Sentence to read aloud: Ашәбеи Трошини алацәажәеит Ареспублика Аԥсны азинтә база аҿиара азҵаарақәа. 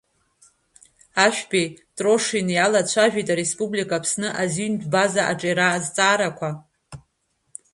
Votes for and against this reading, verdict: 2, 1, accepted